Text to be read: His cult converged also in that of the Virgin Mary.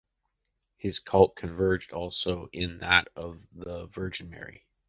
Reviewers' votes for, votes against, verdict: 2, 1, accepted